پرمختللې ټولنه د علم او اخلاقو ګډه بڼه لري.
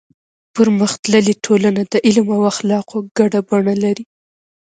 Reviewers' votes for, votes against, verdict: 2, 1, accepted